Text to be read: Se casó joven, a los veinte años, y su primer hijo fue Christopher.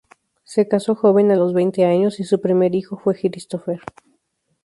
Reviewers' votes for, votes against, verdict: 0, 2, rejected